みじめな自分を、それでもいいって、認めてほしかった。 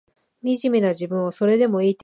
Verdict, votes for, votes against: rejected, 0, 3